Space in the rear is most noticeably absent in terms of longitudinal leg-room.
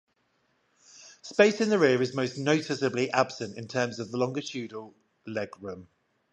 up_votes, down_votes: 5, 5